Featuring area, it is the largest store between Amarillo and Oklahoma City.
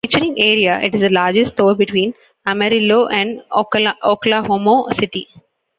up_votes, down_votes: 0, 3